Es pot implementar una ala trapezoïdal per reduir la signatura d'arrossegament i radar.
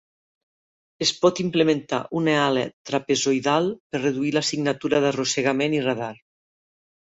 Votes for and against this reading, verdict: 0, 2, rejected